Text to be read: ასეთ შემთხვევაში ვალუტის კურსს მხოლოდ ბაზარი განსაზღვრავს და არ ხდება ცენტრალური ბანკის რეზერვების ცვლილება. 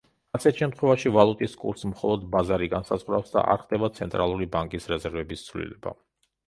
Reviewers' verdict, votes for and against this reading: accepted, 3, 0